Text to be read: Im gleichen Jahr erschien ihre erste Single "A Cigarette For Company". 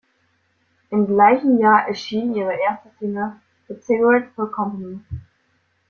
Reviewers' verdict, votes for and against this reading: rejected, 0, 2